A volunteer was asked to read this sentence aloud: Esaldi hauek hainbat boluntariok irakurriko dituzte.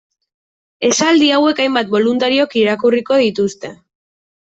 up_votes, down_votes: 2, 0